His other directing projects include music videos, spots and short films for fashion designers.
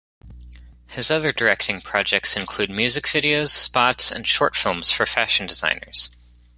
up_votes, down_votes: 1, 2